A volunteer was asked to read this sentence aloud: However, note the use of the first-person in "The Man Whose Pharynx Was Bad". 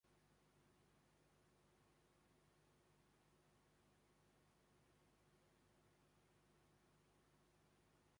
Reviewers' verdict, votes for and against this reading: rejected, 0, 2